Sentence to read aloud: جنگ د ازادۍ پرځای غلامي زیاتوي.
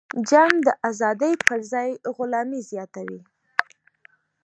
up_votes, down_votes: 2, 0